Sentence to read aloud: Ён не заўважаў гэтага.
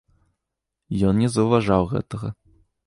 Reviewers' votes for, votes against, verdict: 2, 0, accepted